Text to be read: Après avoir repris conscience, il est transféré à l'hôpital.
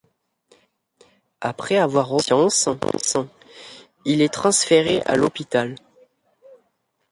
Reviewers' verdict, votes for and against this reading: rejected, 1, 2